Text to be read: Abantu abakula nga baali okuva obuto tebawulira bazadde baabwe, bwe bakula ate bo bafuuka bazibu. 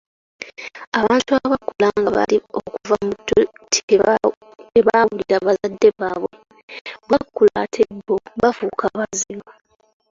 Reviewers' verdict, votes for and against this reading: rejected, 0, 2